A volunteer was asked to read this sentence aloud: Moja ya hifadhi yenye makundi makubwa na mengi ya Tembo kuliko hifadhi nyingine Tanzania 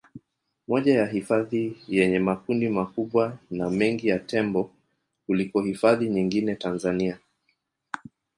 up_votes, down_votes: 1, 2